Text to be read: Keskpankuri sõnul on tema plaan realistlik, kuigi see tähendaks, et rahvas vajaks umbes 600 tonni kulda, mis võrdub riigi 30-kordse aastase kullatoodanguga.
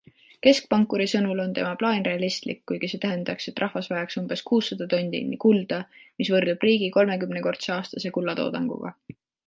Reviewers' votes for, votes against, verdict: 0, 2, rejected